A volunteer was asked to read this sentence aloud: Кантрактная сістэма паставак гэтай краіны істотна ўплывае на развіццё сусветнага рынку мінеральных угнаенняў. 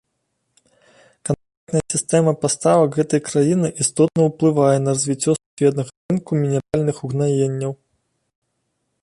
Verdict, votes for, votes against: rejected, 1, 2